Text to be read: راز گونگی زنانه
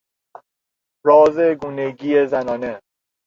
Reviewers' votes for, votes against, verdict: 0, 2, rejected